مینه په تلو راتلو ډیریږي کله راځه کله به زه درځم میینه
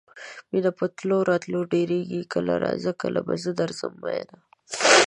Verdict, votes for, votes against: accepted, 9, 1